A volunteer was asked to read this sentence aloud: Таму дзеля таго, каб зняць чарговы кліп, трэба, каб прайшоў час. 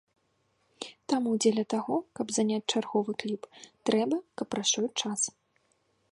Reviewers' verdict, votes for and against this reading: rejected, 0, 2